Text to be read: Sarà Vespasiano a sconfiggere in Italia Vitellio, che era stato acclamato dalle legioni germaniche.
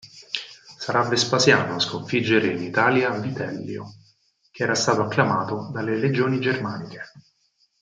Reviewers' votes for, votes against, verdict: 4, 0, accepted